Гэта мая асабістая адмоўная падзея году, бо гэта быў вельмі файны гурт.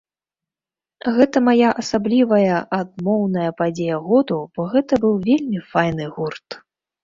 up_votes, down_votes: 0, 2